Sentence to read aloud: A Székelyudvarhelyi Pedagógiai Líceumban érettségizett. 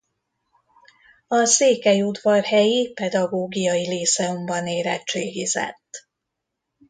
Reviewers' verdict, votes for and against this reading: rejected, 1, 2